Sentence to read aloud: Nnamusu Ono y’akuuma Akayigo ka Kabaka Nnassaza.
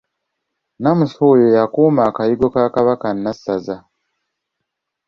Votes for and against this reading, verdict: 2, 0, accepted